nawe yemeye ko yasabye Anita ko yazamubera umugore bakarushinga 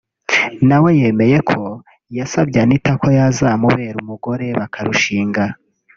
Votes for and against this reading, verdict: 2, 1, accepted